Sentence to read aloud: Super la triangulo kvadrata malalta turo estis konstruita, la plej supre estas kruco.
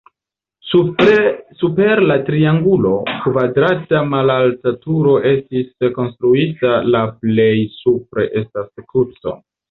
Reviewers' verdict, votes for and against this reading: rejected, 0, 2